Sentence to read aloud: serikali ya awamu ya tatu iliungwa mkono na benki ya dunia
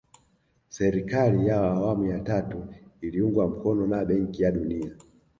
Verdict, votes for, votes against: rejected, 1, 2